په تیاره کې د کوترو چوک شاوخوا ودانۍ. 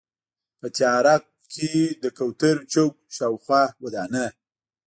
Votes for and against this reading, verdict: 1, 2, rejected